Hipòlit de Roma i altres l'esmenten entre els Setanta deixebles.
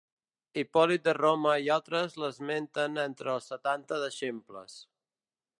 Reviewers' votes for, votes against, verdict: 1, 2, rejected